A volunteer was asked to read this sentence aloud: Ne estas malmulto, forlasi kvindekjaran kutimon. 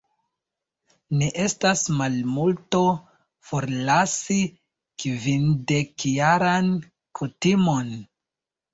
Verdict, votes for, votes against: accepted, 2, 0